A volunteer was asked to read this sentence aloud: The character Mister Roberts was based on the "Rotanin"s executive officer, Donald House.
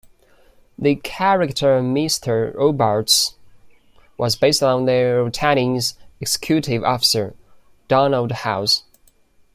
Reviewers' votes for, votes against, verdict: 2, 3, rejected